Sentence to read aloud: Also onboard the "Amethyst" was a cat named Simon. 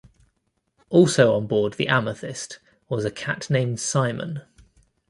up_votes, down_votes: 2, 0